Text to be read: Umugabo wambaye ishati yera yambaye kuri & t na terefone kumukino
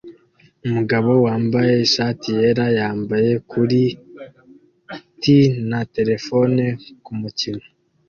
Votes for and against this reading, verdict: 2, 0, accepted